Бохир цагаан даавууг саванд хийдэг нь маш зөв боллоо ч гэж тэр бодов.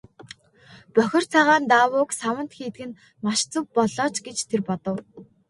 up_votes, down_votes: 3, 0